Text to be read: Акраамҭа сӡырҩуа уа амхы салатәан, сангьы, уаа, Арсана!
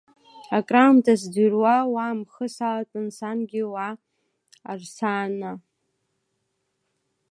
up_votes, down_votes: 2, 0